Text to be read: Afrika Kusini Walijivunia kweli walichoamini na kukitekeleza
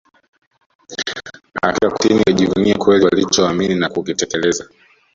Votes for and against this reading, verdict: 0, 2, rejected